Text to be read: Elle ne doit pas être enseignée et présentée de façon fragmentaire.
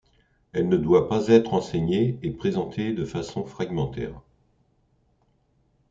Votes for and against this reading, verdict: 2, 0, accepted